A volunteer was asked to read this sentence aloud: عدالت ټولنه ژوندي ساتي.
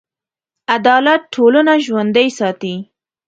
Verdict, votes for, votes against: accepted, 2, 1